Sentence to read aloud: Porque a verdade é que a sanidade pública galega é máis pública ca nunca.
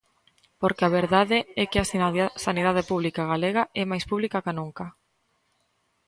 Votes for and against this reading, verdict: 0, 2, rejected